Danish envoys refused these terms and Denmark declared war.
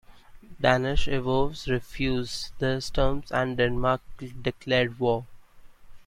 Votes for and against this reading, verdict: 0, 2, rejected